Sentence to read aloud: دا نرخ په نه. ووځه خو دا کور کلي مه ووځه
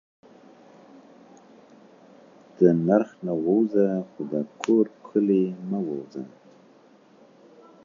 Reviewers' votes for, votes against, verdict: 0, 2, rejected